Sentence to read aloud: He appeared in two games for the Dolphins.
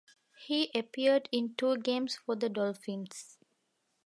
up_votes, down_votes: 2, 0